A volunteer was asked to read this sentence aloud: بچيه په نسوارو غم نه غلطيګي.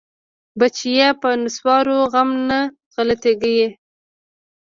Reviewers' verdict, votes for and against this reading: rejected, 1, 2